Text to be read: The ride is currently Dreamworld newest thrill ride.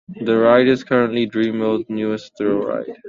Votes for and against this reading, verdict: 2, 0, accepted